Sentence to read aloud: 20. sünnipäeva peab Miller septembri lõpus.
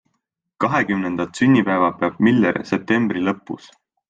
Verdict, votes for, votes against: rejected, 0, 2